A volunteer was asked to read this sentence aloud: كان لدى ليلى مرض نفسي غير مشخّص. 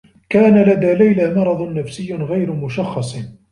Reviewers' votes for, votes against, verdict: 1, 2, rejected